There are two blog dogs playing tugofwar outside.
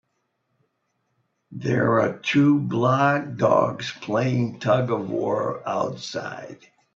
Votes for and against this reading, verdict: 3, 0, accepted